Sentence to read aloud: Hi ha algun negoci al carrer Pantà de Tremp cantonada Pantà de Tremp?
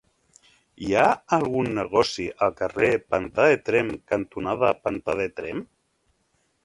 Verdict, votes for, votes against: accepted, 3, 0